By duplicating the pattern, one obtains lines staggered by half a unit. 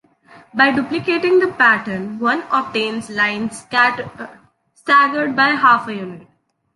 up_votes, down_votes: 2, 3